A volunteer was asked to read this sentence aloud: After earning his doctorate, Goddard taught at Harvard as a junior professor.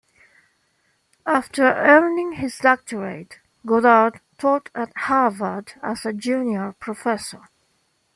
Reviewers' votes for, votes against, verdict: 2, 0, accepted